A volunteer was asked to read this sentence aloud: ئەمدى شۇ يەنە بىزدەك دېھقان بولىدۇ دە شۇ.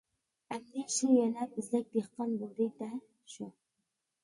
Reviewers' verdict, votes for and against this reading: rejected, 1, 2